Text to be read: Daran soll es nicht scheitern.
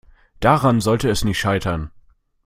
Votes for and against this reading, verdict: 0, 2, rejected